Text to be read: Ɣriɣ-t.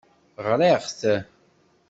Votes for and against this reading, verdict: 2, 0, accepted